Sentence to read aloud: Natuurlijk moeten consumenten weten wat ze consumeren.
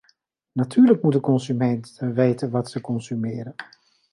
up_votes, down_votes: 0, 2